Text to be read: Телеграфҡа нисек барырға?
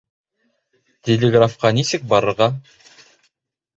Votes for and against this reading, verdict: 1, 2, rejected